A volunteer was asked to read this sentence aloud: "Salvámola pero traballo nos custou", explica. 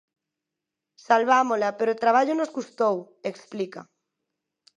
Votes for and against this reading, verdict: 8, 2, accepted